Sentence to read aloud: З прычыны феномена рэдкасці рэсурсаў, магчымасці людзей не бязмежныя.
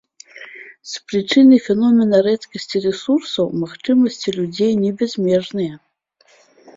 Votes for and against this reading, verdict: 2, 0, accepted